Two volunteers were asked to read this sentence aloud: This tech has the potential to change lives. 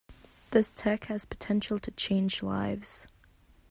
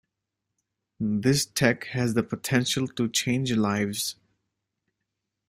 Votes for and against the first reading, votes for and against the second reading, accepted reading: 1, 2, 2, 0, second